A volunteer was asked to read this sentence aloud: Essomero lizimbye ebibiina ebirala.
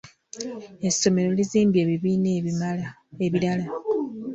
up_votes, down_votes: 0, 2